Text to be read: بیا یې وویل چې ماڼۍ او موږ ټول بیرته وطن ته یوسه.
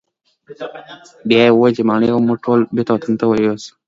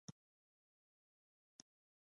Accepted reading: first